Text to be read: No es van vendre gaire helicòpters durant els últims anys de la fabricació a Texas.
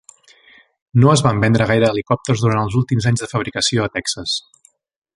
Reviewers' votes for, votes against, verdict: 1, 2, rejected